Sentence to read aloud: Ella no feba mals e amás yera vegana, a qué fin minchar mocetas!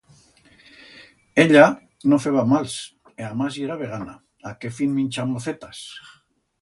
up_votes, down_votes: 2, 0